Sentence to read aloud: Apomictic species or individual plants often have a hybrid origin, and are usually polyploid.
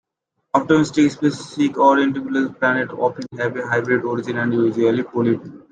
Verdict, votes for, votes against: rejected, 0, 2